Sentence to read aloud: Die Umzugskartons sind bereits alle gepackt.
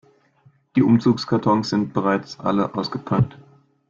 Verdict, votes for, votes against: rejected, 0, 2